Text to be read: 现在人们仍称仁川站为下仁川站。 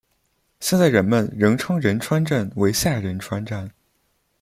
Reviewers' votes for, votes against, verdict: 2, 0, accepted